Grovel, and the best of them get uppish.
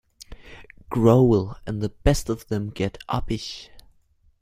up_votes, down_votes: 1, 2